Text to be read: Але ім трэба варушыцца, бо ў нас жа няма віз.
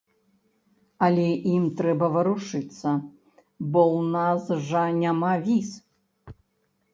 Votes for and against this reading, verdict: 1, 2, rejected